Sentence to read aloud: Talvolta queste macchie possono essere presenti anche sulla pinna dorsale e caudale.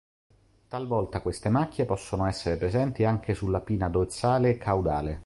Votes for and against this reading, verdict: 2, 1, accepted